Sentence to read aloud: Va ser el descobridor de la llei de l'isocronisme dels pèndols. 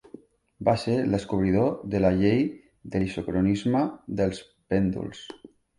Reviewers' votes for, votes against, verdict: 3, 0, accepted